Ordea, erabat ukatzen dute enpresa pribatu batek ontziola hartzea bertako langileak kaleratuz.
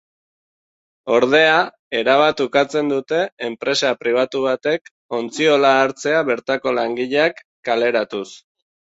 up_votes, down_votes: 2, 0